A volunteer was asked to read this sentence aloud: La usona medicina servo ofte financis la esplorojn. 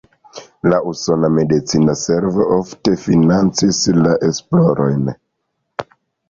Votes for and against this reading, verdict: 0, 2, rejected